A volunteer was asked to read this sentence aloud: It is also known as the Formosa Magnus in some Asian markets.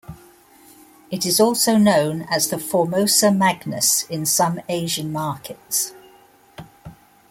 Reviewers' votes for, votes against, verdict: 2, 1, accepted